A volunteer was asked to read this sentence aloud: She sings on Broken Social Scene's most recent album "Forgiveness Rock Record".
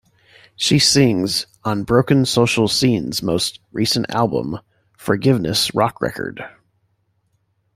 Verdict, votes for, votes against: accepted, 2, 0